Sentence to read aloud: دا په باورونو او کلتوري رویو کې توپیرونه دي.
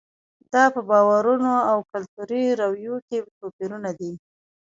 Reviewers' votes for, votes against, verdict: 3, 1, accepted